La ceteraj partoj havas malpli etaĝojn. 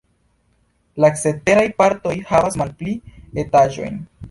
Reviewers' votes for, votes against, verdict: 2, 0, accepted